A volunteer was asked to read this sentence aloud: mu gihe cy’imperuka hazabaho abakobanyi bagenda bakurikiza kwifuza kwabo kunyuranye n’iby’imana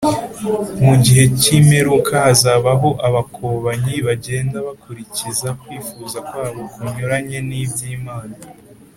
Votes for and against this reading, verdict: 2, 0, accepted